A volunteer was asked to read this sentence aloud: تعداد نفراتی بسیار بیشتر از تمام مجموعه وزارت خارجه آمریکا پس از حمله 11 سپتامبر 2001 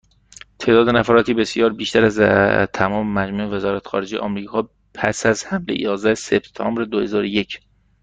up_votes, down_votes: 0, 2